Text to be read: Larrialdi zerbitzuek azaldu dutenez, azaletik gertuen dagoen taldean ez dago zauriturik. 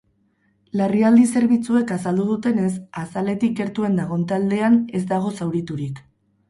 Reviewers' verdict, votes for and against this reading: rejected, 2, 4